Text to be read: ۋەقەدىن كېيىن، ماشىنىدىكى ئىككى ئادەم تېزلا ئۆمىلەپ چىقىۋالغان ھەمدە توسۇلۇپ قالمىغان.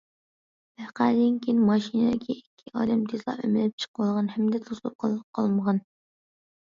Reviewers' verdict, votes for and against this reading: rejected, 0, 2